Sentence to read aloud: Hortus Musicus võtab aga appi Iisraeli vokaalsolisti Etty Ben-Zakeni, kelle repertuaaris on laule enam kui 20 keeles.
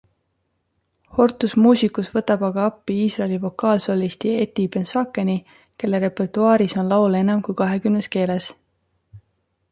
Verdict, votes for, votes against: rejected, 0, 2